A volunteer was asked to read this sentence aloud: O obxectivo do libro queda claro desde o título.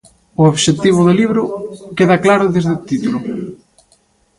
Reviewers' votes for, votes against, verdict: 0, 2, rejected